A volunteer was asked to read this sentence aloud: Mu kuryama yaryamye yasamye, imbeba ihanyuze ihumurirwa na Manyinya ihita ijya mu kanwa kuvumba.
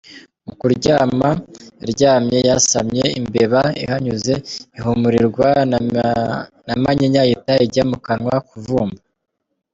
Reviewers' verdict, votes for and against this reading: accepted, 2, 1